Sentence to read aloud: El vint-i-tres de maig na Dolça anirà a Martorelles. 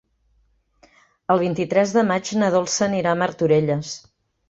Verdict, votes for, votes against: accepted, 2, 0